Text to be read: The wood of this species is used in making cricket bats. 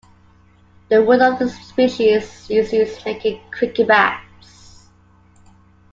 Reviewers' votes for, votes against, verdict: 0, 2, rejected